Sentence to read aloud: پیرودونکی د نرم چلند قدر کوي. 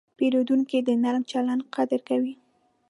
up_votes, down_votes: 2, 0